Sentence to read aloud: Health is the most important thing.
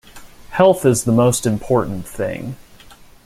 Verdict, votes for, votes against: accepted, 2, 0